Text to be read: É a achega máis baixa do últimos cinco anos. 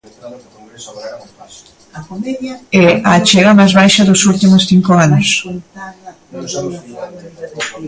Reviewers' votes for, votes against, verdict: 0, 3, rejected